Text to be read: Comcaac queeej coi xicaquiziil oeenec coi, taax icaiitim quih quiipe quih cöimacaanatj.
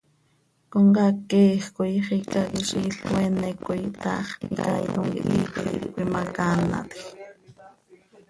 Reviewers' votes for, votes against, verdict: 0, 2, rejected